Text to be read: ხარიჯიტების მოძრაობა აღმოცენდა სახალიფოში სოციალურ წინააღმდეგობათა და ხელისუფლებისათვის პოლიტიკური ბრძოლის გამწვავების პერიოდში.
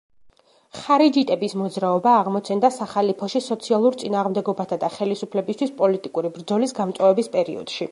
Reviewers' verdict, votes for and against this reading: rejected, 0, 2